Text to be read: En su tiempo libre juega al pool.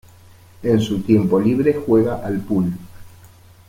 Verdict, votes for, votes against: accepted, 2, 0